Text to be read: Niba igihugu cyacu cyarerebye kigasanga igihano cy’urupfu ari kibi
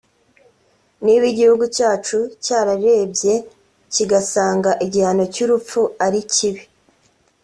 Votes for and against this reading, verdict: 2, 0, accepted